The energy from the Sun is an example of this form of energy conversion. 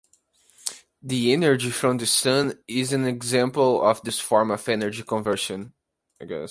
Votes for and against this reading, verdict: 2, 0, accepted